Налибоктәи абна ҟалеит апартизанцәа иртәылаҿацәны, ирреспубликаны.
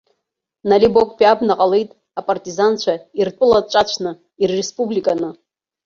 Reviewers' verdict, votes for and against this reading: rejected, 0, 2